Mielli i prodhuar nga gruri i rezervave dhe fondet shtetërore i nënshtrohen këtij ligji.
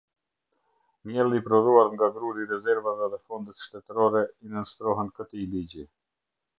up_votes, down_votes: 2, 0